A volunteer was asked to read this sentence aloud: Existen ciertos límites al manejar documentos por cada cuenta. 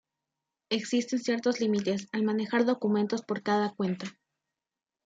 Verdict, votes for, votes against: accepted, 2, 0